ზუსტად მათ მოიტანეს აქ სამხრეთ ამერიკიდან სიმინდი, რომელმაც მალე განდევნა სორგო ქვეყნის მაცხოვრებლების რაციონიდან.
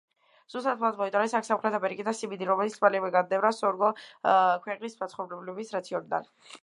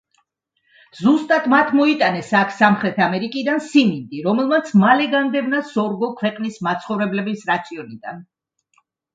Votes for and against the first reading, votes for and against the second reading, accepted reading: 0, 2, 2, 0, second